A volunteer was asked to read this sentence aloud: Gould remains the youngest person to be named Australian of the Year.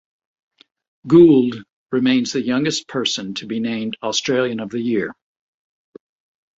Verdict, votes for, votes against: accepted, 2, 0